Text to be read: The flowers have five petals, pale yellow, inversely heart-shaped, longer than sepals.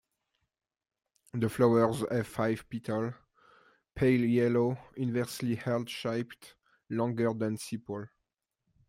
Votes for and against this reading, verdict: 0, 2, rejected